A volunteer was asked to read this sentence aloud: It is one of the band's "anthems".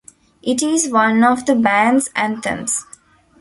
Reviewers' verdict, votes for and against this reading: accepted, 2, 0